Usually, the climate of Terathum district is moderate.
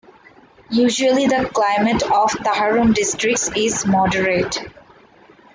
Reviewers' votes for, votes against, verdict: 0, 2, rejected